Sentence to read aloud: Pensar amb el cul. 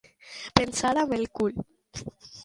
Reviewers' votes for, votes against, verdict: 1, 2, rejected